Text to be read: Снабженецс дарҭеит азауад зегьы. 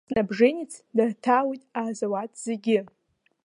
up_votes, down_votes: 0, 2